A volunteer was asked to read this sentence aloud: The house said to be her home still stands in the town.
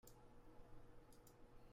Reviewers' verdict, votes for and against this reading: rejected, 0, 2